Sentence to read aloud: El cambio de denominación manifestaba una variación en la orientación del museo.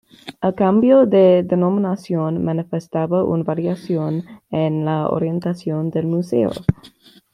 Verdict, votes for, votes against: rejected, 0, 2